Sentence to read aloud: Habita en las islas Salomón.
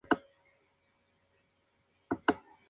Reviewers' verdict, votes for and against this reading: rejected, 0, 2